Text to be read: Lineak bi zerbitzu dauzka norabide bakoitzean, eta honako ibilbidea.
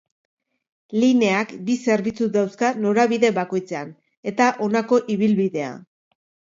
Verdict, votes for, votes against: accepted, 5, 0